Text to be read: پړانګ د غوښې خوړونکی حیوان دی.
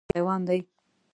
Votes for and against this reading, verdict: 1, 2, rejected